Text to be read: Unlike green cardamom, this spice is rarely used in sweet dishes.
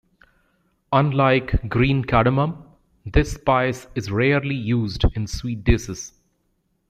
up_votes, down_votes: 0, 2